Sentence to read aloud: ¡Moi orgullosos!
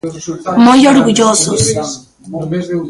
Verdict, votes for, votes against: rejected, 0, 2